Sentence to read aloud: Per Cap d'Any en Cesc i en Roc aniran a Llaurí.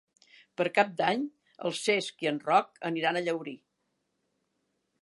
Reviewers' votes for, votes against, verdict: 0, 2, rejected